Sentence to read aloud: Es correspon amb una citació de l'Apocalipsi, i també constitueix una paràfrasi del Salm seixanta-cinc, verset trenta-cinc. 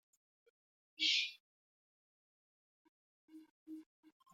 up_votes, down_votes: 0, 2